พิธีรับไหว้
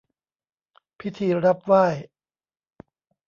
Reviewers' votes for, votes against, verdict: 2, 0, accepted